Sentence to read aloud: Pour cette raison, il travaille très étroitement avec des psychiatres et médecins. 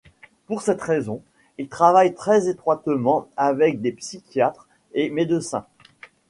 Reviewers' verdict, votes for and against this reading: rejected, 1, 2